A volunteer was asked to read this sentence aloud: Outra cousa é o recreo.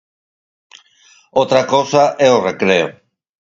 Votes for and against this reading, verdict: 4, 0, accepted